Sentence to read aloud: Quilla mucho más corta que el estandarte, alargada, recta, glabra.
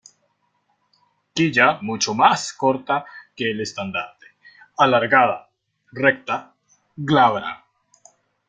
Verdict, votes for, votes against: rejected, 1, 2